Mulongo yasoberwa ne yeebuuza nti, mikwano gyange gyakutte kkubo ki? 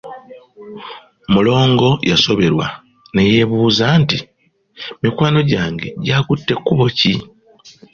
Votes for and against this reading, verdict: 2, 0, accepted